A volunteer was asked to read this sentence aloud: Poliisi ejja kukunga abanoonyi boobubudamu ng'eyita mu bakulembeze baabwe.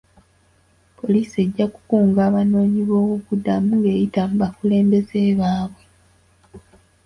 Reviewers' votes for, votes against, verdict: 2, 0, accepted